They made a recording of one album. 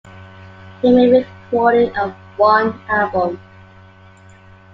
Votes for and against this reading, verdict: 2, 1, accepted